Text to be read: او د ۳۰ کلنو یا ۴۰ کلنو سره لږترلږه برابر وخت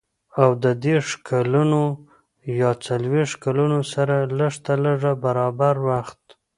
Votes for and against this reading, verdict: 0, 2, rejected